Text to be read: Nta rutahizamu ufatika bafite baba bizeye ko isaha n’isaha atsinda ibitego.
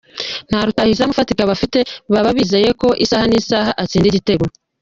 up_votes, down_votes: 1, 2